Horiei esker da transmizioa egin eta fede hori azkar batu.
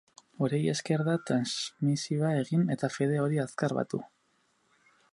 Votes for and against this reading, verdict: 2, 4, rejected